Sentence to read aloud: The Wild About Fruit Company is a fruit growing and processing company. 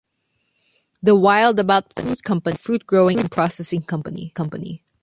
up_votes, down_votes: 0, 2